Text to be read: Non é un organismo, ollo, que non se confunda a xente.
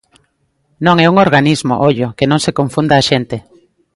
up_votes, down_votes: 2, 0